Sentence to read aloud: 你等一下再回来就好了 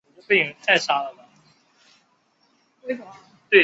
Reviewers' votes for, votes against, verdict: 0, 2, rejected